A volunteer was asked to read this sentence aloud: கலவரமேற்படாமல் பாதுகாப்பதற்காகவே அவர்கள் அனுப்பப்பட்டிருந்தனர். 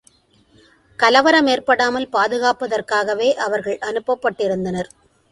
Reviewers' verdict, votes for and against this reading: accepted, 2, 0